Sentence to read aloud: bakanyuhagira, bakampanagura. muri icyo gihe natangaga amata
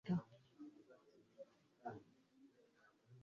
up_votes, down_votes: 0, 2